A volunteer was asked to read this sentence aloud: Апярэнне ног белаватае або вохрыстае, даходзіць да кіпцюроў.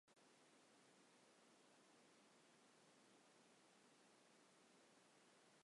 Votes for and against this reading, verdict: 0, 2, rejected